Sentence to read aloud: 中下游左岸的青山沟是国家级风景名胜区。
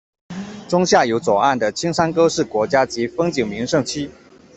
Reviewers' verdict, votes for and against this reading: accepted, 2, 0